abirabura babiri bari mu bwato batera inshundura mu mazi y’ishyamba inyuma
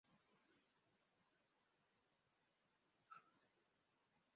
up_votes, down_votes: 0, 2